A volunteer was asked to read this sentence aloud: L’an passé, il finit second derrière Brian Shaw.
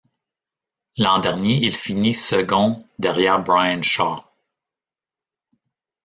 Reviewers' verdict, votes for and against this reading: rejected, 1, 2